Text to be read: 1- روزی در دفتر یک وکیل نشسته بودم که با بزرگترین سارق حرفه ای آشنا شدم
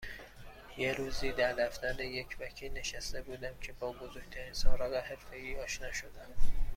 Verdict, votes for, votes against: rejected, 0, 2